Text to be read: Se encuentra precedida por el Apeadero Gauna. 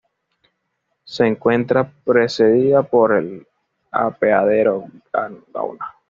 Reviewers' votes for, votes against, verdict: 1, 2, rejected